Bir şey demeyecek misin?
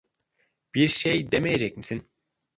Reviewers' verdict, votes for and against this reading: accepted, 2, 1